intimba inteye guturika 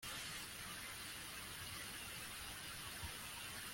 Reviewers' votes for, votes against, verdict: 0, 2, rejected